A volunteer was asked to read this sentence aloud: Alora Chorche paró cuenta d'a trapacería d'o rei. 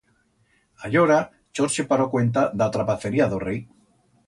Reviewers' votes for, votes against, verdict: 1, 2, rejected